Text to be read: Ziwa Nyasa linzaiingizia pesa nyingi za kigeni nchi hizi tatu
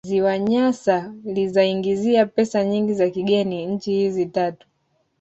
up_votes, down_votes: 1, 2